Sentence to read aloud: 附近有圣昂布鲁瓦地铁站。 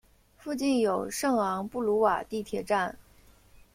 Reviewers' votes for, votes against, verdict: 2, 0, accepted